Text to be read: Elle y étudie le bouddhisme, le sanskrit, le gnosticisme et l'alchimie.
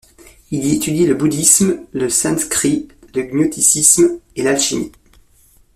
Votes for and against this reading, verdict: 2, 0, accepted